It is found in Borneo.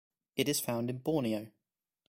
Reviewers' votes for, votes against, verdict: 2, 0, accepted